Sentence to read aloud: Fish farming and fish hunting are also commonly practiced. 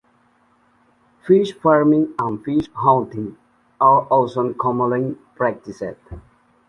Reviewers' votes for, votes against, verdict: 2, 1, accepted